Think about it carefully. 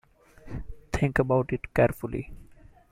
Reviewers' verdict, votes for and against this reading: accepted, 2, 0